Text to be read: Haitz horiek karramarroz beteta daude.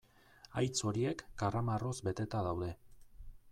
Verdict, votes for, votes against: accepted, 2, 0